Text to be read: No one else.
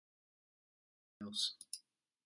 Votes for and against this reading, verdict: 1, 2, rejected